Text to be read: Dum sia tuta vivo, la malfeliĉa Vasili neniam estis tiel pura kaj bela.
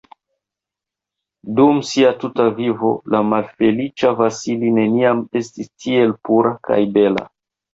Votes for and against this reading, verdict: 0, 2, rejected